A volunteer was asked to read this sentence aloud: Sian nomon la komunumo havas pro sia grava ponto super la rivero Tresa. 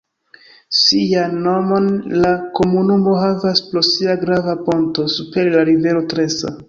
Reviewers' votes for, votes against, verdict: 2, 1, accepted